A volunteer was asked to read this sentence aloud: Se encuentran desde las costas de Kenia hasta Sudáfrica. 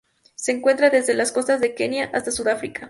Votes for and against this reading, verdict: 2, 0, accepted